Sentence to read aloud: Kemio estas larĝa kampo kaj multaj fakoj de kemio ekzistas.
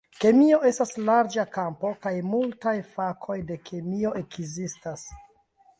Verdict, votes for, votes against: accepted, 2, 0